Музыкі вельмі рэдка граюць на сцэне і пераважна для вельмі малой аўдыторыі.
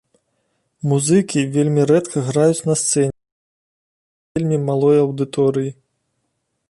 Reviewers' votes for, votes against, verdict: 0, 2, rejected